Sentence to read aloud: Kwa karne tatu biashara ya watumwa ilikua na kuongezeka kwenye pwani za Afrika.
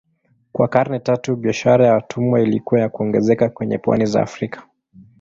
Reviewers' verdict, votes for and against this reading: rejected, 0, 2